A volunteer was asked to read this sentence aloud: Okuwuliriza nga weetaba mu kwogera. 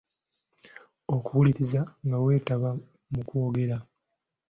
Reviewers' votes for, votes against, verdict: 2, 0, accepted